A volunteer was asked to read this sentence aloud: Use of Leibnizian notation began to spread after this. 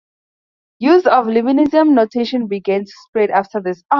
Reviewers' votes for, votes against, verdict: 2, 0, accepted